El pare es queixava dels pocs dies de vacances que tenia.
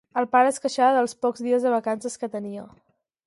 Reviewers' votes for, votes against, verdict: 4, 0, accepted